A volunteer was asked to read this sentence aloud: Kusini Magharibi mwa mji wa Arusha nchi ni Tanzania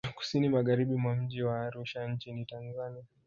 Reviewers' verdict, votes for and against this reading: accepted, 2, 0